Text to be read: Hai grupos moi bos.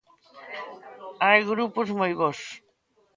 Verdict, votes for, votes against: accepted, 2, 0